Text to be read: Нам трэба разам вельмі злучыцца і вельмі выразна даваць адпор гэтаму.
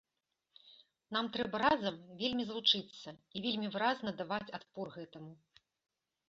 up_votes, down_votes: 3, 0